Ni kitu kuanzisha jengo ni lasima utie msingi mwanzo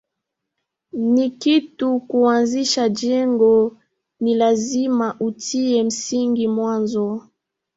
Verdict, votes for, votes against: rejected, 0, 2